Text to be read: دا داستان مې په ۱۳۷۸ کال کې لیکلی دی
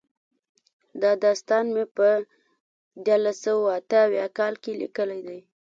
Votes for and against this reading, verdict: 0, 2, rejected